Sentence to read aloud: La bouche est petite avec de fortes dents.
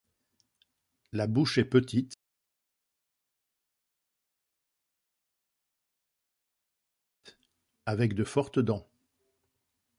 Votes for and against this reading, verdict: 0, 2, rejected